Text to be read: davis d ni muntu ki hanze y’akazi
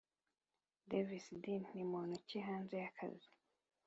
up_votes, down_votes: 2, 0